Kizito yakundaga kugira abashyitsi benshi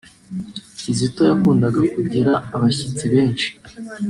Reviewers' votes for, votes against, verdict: 1, 2, rejected